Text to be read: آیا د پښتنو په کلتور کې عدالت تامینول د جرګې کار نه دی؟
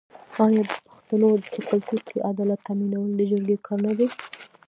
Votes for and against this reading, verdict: 1, 2, rejected